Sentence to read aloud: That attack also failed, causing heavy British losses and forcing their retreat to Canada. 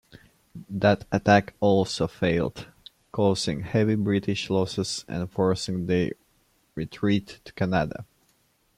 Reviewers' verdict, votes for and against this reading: rejected, 1, 2